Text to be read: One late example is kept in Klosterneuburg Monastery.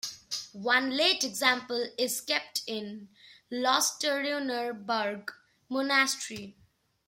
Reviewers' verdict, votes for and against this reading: rejected, 0, 2